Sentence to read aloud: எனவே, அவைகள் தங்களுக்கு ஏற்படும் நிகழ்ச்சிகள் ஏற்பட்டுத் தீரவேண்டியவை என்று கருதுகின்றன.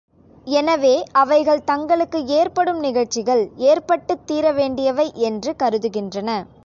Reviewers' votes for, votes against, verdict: 3, 1, accepted